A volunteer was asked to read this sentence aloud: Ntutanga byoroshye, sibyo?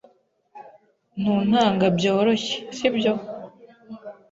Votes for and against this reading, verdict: 1, 2, rejected